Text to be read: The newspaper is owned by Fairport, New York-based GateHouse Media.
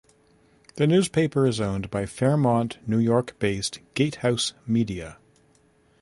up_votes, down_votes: 0, 2